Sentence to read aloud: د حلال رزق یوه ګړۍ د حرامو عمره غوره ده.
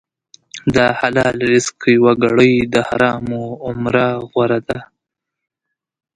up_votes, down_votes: 2, 0